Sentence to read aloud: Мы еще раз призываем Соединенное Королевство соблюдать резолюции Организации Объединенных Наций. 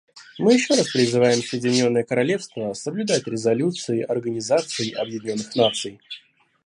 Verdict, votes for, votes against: rejected, 1, 2